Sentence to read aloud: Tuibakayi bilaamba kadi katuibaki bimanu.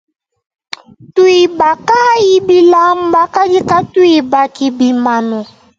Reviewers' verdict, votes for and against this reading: rejected, 0, 2